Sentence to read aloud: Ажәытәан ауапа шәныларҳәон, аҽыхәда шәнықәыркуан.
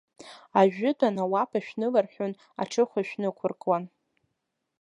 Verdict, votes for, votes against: rejected, 0, 2